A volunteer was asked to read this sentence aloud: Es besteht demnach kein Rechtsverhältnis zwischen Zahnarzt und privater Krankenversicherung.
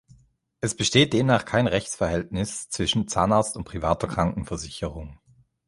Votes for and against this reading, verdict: 2, 0, accepted